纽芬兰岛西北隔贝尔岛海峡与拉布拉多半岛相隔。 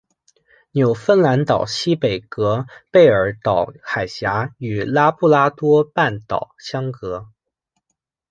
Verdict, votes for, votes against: accepted, 2, 0